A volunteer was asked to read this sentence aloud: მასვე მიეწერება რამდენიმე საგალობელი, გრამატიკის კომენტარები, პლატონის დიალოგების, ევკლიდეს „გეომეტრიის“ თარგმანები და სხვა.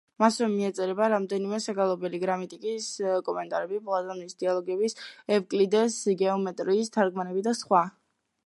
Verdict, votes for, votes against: accepted, 2, 0